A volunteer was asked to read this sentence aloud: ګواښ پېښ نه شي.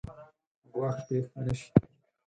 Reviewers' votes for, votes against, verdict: 4, 0, accepted